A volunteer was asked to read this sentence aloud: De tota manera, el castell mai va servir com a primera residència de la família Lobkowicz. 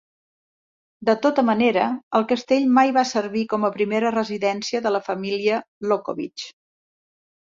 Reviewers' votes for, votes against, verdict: 2, 0, accepted